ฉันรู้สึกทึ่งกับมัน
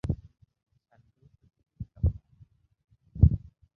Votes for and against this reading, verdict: 0, 2, rejected